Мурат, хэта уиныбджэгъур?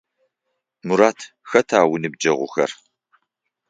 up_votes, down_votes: 3, 6